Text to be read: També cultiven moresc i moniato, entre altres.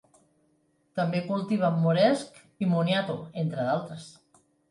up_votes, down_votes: 1, 4